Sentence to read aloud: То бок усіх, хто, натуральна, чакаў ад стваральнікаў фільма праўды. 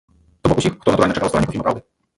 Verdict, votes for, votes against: rejected, 0, 2